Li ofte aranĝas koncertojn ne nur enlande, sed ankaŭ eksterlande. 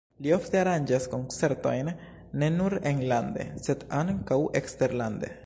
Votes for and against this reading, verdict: 2, 0, accepted